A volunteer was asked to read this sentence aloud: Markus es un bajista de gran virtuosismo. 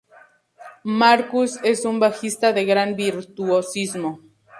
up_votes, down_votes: 2, 0